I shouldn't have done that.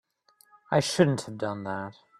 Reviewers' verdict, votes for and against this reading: rejected, 1, 2